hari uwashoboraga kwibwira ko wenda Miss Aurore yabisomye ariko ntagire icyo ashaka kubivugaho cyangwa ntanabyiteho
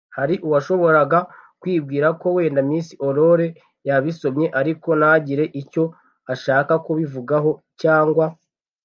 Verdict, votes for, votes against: rejected, 0, 2